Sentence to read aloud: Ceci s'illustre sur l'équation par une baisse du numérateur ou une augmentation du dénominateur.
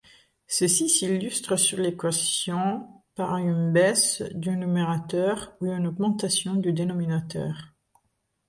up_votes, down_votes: 2, 0